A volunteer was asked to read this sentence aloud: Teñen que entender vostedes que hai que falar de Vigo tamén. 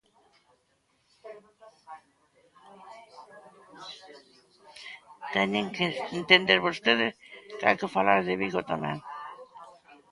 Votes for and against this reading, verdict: 0, 2, rejected